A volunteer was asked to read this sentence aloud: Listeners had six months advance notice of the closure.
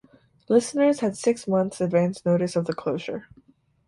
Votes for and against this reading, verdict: 4, 0, accepted